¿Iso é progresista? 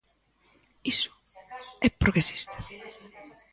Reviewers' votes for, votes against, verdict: 0, 2, rejected